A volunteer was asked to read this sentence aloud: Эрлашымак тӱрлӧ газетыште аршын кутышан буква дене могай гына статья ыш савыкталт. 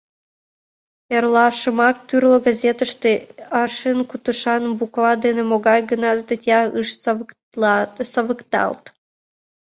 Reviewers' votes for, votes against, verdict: 0, 2, rejected